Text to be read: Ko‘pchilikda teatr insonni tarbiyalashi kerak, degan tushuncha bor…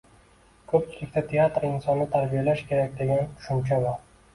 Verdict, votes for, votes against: rejected, 1, 2